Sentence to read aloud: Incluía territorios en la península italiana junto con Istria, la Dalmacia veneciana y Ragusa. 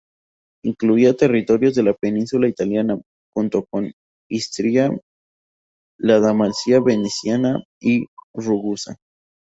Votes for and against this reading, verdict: 0, 2, rejected